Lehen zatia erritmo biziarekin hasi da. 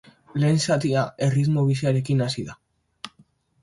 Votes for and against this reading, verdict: 3, 0, accepted